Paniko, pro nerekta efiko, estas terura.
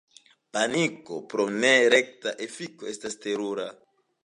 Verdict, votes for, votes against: accepted, 2, 0